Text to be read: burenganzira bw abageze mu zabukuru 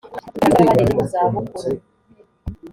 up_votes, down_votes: 1, 2